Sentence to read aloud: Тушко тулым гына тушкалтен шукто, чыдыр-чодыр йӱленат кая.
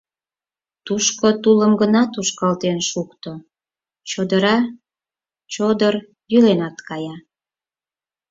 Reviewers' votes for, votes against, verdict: 0, 4, rejected